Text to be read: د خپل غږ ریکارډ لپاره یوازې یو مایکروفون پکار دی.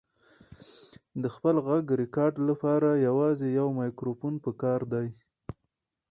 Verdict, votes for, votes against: accepted, 4, 0